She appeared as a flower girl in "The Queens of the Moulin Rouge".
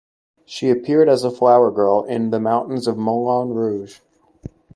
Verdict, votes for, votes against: rejected, 0, 2